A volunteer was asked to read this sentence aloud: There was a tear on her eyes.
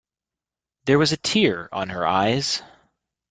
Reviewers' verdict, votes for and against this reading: accepted, 2, 0